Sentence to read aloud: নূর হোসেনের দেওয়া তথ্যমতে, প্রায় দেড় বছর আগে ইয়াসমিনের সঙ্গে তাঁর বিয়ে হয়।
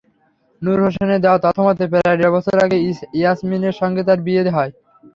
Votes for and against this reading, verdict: 3, 0, accepted